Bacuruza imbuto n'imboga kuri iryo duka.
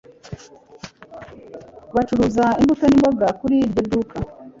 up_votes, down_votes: 2, 0